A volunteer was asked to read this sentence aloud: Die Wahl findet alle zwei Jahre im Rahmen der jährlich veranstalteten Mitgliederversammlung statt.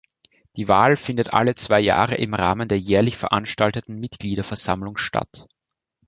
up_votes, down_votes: 2, 0